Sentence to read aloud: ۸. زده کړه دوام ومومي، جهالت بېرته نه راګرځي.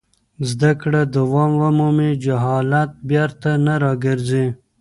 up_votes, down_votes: 0, 2